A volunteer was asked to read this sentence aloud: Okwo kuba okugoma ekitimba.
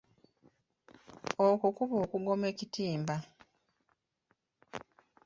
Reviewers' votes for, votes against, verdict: 4, 1, accepted